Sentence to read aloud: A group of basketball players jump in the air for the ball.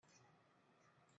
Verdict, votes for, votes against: rejected, 0, 3